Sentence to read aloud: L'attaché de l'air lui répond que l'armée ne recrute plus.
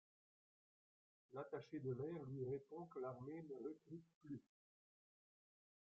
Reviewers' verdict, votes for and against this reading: rejected, 1, 2